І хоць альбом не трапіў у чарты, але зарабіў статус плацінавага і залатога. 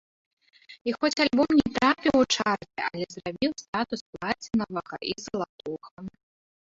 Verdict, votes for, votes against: rejected, 0, 2